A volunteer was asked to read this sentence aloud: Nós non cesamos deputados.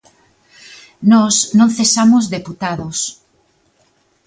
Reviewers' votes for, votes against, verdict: 2, 0, accepted